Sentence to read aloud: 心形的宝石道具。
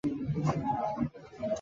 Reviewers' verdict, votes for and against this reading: rejected, 0, 2